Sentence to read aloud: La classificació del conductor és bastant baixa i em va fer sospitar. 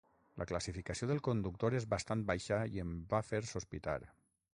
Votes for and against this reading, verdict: 6, 0, accepted